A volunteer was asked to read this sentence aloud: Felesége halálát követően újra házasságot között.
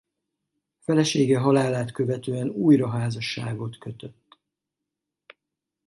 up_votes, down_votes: 0, 2